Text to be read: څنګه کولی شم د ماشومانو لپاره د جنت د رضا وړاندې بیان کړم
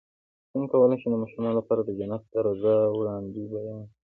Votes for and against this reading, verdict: 2, 0, accepted